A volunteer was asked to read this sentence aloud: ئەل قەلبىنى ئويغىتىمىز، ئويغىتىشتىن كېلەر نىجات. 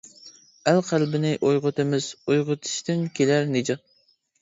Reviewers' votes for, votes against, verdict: 2, 0, accepted